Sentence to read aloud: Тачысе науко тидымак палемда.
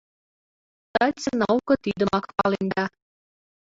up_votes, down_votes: 0, 2